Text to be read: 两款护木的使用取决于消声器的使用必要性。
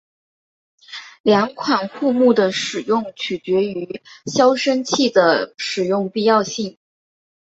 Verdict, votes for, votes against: accepted, 4, 0